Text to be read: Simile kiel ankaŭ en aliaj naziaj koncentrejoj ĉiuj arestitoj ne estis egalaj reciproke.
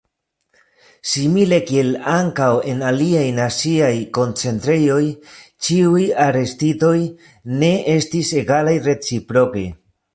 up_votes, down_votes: 1, 3